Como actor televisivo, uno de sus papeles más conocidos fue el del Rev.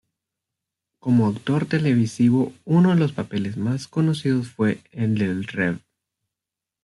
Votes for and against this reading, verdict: 1, 2, rejected